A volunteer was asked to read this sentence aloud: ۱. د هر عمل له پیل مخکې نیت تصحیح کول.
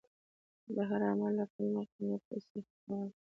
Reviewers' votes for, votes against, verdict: 0, 2, rejected